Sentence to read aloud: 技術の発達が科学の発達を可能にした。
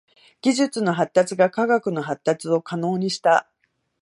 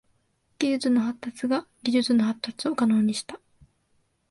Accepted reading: first